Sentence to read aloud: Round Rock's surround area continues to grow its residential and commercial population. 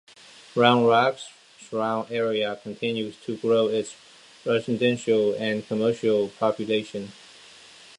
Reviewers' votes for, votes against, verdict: 2, 0, accepted